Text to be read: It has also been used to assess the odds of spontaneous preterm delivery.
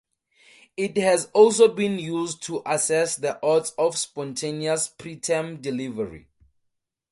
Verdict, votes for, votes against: accepted, 2, 0